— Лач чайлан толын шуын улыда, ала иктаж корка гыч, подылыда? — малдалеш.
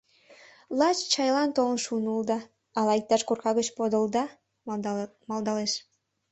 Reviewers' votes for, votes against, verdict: 1, 2, rejected